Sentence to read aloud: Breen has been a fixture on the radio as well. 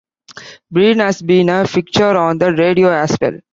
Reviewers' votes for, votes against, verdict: 2, 0, accepted